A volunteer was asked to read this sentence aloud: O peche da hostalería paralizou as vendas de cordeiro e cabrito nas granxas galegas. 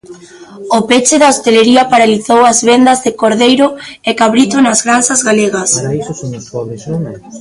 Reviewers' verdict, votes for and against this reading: rejected, 1, 2